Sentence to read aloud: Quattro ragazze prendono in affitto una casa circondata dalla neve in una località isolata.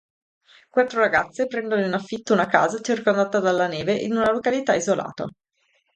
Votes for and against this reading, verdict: 2, 0, accepted